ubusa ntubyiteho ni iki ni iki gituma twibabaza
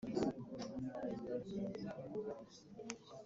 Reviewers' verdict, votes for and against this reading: rejected, 0, 3